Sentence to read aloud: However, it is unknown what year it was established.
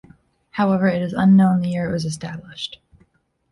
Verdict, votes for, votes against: rejected, 1, 2